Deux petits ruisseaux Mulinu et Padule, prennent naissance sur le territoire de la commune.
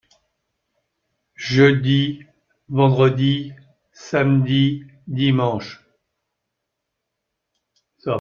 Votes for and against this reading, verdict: 0, 2, rejected